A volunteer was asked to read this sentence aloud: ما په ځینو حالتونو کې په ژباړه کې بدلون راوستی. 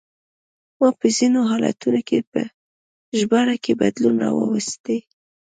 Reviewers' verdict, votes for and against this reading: accepted, 2, 0